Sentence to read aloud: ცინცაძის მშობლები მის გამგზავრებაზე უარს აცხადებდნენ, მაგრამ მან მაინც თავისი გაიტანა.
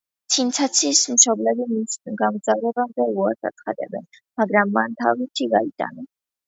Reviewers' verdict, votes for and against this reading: rejected, 1, 2